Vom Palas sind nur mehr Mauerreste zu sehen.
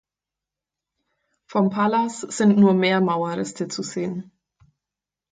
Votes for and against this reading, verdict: 4, 0, accepted